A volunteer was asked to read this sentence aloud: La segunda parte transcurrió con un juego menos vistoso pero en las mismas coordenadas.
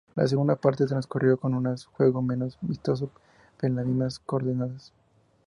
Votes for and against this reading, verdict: 0, 4, rejected